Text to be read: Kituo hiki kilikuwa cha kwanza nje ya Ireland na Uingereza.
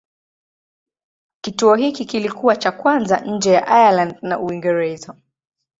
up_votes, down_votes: 2, 2